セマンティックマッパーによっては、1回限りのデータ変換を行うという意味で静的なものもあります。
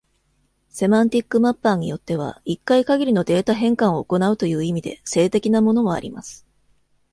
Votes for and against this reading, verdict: 0, 2, rejected